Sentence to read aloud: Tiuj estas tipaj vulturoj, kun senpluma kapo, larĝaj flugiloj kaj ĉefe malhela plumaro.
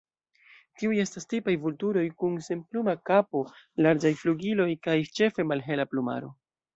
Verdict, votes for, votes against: rejected, 1, 2